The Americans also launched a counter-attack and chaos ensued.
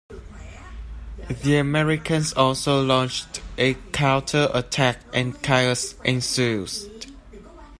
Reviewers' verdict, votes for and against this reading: rejected, 0, 2